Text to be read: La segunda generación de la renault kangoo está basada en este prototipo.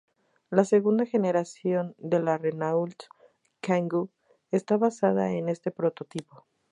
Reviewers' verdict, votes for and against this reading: rejected, 2, 2